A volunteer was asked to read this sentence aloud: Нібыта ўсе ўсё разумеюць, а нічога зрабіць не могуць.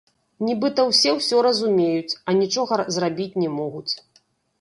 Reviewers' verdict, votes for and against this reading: rejected, 1, 2